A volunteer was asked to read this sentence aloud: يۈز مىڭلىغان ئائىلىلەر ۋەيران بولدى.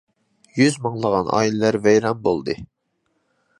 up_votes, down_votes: 2, 0